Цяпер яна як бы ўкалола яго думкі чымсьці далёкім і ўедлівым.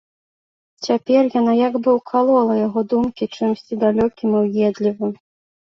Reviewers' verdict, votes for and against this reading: accepted, 2, 0